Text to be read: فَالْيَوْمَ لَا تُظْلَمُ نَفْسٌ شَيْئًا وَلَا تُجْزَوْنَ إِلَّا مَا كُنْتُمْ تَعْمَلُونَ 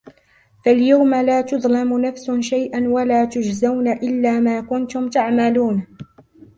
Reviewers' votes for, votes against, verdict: 0, 2, rejected